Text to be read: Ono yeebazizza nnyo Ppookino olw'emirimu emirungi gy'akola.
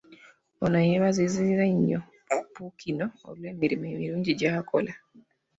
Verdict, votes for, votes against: rejected, 0, 2